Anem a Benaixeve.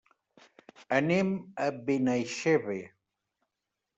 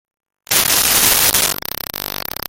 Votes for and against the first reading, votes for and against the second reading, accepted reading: 2, 0, 0, 2, first